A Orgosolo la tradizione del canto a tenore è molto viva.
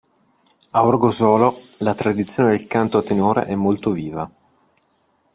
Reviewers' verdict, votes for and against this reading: rejected, 1, 2